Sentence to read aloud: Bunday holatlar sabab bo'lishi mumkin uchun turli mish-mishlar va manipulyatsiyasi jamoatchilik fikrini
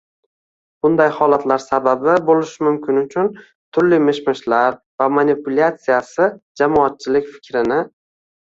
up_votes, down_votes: 0, 2